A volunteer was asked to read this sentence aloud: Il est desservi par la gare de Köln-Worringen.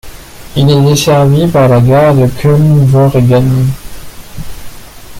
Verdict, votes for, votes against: rejected, 1, 2